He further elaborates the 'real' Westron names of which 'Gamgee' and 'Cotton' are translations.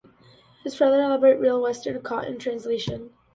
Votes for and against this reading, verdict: 0, 2, rejected